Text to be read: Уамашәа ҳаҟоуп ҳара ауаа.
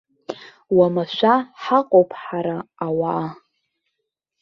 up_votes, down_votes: 2, 0